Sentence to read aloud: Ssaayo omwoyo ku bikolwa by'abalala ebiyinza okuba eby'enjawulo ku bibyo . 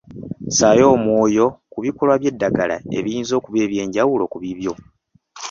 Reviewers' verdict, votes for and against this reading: rejected, 1, 2